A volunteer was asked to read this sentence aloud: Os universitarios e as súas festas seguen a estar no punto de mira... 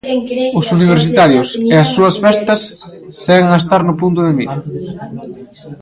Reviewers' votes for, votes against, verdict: 0, 2, rejected